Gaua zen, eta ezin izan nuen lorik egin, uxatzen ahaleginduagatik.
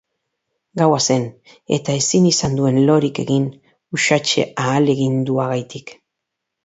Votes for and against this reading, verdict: 0, 2, rejected